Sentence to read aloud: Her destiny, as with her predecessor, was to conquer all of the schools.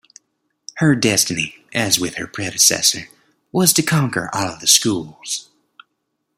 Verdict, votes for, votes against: accepted, 2, 0